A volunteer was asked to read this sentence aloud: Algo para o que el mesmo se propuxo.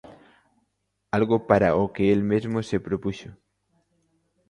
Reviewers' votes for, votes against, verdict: 2, 0, accepted